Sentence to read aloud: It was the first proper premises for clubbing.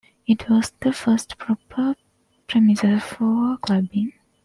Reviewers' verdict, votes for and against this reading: accepted, 2, 1